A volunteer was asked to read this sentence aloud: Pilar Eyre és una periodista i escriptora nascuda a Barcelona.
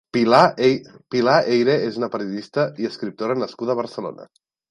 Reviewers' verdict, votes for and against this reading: rejected, 0, 2